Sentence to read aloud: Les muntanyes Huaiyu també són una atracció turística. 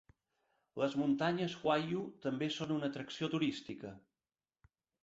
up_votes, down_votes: 2, 0